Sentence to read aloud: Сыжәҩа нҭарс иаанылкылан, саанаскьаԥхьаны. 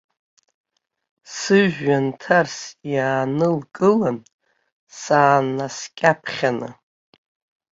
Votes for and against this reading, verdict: 1, 2, rejected